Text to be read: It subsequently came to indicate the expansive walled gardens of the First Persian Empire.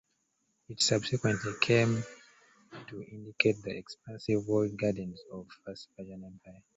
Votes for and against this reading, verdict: 0, 3, rejected